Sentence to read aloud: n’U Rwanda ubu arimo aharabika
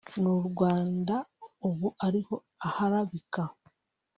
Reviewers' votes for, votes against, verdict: 1, 2, rejected